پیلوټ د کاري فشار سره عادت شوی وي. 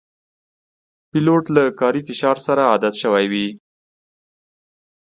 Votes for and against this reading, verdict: 2, 0, accepted